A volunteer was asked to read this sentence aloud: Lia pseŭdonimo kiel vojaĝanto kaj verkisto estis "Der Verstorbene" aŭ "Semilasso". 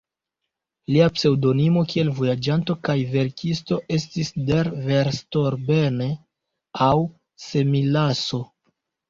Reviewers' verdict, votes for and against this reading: rejected, 0, 2